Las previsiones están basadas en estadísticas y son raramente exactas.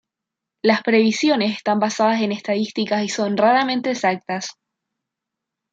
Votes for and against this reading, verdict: 0, 2, rejected